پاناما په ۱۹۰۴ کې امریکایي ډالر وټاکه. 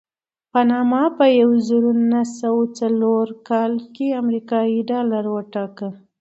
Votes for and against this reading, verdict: 0, 2, rejected